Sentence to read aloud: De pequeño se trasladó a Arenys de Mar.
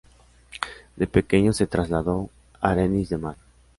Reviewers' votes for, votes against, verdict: 0, 2, rejected